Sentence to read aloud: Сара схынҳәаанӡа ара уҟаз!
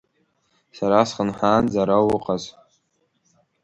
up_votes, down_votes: 2, 1